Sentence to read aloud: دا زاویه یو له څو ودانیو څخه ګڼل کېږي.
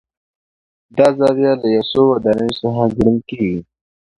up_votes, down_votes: 2, 0